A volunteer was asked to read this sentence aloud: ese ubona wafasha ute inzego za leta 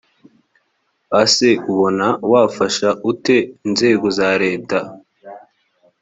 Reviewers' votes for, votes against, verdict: 1, 2, rejected